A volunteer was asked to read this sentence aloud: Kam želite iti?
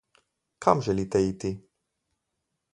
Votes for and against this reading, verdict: 2, 2, rejected